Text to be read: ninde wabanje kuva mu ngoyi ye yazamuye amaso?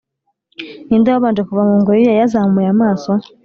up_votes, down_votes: 6, 0